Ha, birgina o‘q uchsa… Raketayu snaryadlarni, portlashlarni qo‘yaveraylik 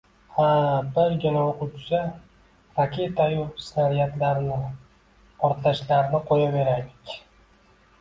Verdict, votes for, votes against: accepted, 2, 0